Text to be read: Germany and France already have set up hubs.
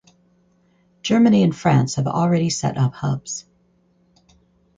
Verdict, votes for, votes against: rejected, 2, 2